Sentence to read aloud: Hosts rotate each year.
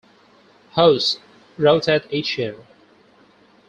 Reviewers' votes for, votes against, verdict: 0, 4, rejected